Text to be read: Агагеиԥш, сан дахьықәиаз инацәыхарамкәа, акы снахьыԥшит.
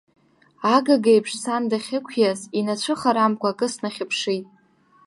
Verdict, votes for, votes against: accepted, 2, 0